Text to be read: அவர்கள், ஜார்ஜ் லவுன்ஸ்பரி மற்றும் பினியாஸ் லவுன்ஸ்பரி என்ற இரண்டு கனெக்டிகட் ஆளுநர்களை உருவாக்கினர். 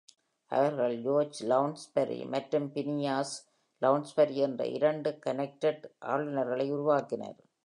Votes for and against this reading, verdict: 1, 2, rejected